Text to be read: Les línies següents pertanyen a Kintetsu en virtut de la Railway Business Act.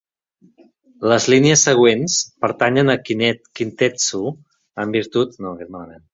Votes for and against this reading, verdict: 0, 2, rejected